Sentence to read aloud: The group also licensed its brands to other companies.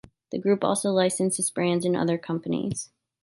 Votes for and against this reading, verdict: 1, 2, rejected